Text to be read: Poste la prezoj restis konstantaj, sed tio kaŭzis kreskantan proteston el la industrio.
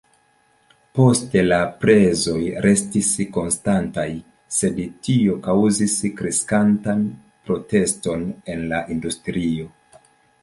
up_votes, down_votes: 2, 1